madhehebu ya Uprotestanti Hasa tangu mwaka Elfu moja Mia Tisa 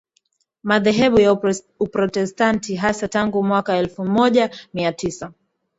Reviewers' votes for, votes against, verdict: 2, 0, accepted